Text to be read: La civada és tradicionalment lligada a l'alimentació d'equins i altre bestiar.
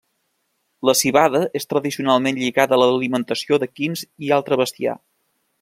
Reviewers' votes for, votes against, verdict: 2, 1, accepted